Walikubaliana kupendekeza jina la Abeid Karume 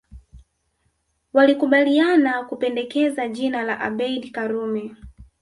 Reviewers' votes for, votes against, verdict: 2, 1, accepted